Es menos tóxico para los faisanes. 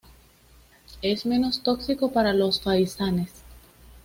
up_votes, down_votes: 2, 0